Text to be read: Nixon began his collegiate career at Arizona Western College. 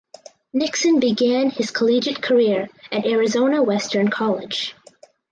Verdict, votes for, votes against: accepted, 4, 0